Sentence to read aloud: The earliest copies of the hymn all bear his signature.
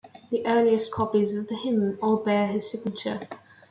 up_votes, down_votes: 2, 0